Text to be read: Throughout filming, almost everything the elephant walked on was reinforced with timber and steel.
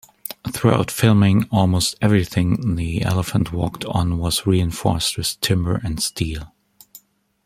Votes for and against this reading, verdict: 2, 0, accepted